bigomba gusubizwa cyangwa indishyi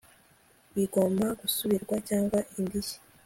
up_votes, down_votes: 2, 0